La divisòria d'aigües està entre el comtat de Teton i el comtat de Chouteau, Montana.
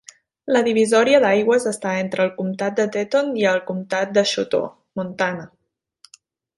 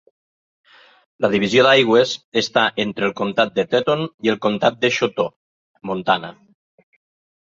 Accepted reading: first